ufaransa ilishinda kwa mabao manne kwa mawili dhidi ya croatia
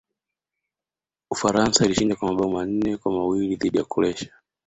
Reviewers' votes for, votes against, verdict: 2, 0, accepted